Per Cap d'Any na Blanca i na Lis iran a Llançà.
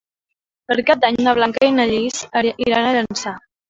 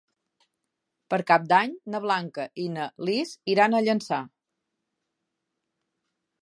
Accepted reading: second